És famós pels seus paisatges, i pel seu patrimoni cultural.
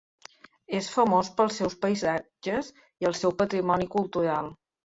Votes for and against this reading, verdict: 0, 2, rejected